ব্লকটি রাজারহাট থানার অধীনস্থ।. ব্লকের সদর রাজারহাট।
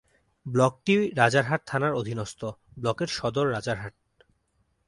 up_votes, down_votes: 4, 1